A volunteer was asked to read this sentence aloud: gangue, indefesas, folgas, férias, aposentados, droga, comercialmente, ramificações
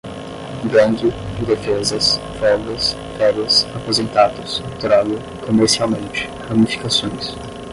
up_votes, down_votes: 10, 0